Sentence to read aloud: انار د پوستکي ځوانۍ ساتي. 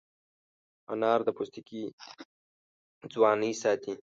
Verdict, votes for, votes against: rejected, 1, 2